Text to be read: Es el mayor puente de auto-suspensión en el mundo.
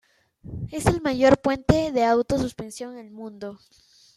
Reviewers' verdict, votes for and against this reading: rejected, 1, 2